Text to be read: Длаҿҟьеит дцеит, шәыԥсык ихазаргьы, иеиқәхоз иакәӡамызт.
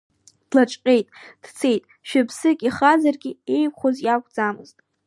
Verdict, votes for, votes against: rejected, 0, 2